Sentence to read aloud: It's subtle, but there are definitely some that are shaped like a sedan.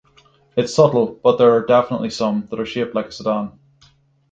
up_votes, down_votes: 0, 6